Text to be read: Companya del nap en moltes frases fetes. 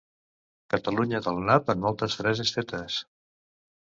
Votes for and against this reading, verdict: 0, 2, rejected